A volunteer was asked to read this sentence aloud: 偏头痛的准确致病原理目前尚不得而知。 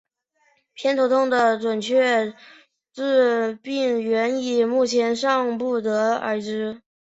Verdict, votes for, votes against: accepted, 2, 0